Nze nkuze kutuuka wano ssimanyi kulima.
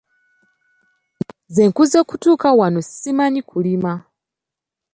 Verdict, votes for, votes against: accepted, 2, 1